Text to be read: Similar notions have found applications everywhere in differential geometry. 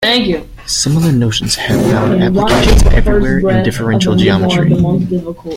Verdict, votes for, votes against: accepted, 2, 0